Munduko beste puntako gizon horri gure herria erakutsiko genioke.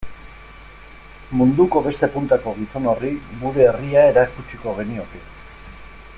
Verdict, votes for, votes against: rejected, 1, 2